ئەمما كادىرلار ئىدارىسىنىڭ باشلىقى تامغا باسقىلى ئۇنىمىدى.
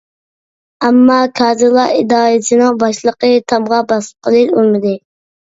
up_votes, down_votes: 2, 1